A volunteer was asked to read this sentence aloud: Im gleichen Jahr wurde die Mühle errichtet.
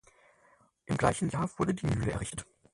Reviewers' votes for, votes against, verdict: 2, 6, rejected